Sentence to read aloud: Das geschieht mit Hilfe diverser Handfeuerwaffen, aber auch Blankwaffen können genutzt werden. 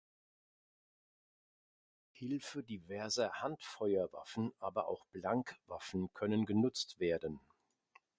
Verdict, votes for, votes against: rejected, 0, 3